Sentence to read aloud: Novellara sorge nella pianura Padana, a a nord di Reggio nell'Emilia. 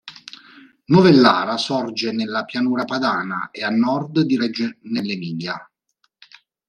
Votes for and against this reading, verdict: 0, 2, rejected